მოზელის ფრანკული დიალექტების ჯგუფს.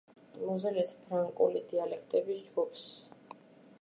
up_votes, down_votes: 2, 0